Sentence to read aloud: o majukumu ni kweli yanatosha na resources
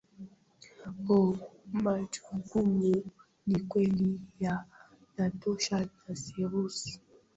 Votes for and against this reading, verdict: 0, 2, rejected